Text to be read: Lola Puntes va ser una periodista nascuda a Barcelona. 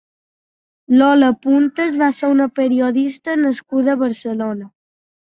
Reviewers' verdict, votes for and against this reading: accepted, 2, 0